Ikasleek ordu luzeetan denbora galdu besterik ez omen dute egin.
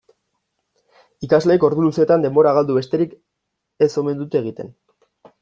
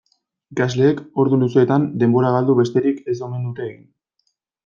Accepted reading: second